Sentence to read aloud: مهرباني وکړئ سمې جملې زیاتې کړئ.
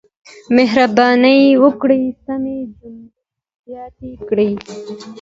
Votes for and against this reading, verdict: 2, 0, accepted